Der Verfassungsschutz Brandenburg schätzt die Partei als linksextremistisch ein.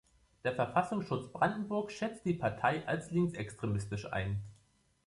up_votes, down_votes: 2, 0